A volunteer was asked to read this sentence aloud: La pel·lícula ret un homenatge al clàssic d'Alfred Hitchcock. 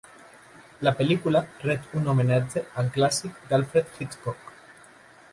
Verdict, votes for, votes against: accepted, 2, 0